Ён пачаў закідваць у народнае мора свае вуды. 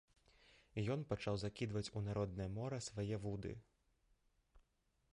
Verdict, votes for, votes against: rejected, 1, 2